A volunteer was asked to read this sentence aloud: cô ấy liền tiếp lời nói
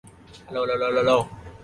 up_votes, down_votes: 0, 2